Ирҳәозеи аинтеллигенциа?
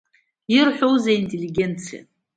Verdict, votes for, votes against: accepted, 2, 0